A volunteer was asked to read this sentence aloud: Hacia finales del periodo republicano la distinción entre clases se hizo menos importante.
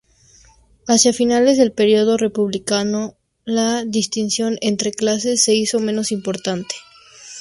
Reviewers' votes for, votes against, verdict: 0, 2, rejected